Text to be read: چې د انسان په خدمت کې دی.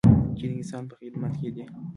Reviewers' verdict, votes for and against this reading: rejected, 1, 2